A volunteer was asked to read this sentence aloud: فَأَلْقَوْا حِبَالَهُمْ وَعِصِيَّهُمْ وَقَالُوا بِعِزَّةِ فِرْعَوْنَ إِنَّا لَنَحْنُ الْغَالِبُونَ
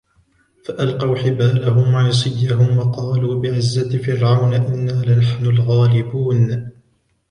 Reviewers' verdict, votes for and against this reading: rejected, 1, 2